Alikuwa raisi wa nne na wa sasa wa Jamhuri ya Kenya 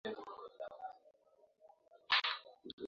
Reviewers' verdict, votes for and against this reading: rejected, 0, 2